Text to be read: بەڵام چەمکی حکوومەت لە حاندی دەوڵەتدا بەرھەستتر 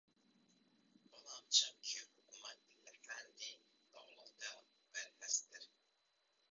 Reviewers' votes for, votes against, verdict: 0, 2, rejected